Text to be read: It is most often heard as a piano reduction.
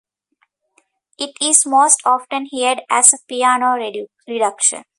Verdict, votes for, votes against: rejected, 1, 2